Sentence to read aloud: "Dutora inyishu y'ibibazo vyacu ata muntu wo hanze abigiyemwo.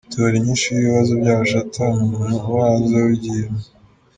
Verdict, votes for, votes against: rejected, 0, 2